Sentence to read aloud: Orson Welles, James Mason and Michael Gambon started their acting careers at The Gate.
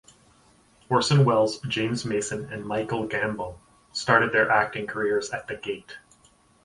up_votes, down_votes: 4, 0